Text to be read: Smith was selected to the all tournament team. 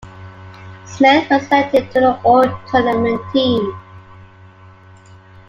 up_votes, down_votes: 1, 2